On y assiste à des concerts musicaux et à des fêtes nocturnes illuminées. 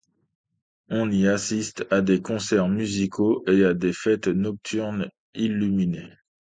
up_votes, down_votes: 2, 0